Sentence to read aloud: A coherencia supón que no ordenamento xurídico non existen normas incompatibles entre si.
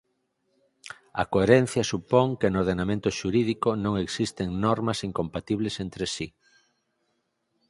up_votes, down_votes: 4, 0